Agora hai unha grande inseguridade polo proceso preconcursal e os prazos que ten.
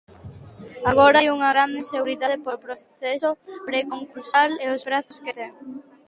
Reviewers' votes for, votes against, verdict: 2, 0, accepted